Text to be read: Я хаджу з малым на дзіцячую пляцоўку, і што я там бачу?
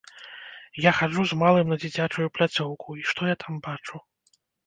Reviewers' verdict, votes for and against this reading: rejected, 1, 2